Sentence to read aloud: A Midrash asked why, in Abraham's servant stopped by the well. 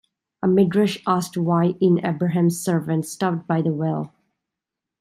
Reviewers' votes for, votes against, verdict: 2, 0, accepted